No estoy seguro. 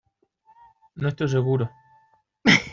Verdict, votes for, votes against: rejected, 0, 2